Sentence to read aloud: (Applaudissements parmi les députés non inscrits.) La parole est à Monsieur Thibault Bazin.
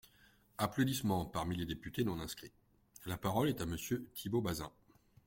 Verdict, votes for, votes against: accepted, 2, 0